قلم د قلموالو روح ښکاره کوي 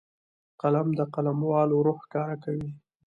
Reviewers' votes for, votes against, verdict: 2, 1, accepted